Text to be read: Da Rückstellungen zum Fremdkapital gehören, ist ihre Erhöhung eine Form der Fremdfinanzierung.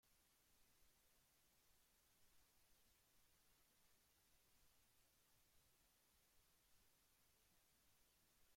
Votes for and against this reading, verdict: 0, 2, rejected